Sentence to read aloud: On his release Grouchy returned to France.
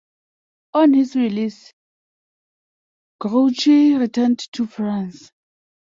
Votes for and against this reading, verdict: 2, 0, accepted